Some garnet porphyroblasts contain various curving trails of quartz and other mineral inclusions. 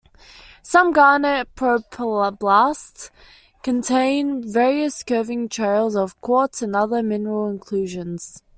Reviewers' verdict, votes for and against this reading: accepted, 2, 1